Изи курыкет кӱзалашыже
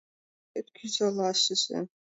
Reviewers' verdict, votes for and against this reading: rejected, 0, 2